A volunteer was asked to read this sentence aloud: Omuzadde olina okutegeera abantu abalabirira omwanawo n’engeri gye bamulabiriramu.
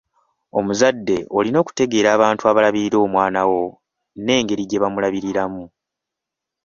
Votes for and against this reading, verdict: 2, 1, accepted